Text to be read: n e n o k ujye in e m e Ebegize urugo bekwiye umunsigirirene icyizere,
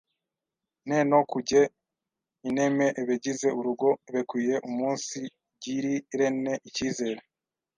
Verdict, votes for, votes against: rejected, 1, 2